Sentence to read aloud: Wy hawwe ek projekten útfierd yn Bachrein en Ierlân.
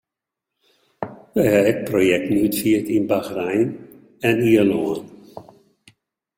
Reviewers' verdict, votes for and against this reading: rejected, 1, 2